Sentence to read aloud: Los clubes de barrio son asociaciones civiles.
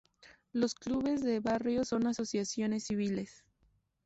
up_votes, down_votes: 2, 0